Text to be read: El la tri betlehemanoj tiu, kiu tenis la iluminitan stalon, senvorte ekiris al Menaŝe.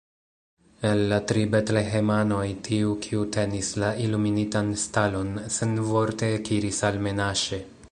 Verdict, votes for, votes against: rejected, 1, 2